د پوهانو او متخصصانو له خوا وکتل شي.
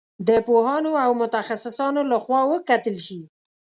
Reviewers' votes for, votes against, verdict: 2, 0, accepted